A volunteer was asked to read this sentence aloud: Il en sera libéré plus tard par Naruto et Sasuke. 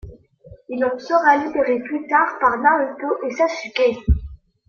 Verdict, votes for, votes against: accepted, 2, 0